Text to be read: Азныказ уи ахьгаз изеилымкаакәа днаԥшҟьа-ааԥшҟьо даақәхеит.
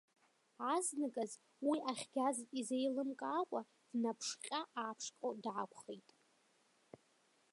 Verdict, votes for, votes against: accepted, 2, 0